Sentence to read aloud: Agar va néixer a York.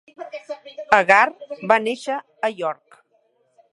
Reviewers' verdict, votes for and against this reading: accepted, 2, 0